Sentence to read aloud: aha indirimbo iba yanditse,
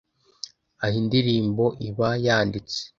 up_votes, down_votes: 2, 0